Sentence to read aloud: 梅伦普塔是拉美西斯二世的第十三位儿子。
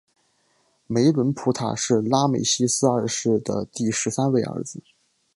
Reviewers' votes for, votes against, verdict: 2, 0, accepted